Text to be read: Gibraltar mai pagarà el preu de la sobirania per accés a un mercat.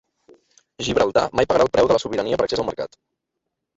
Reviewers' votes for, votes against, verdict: 0, 2, rejected